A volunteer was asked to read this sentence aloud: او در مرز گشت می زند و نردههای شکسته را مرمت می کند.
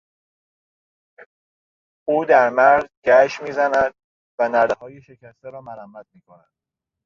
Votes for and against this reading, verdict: 1, 2, rejected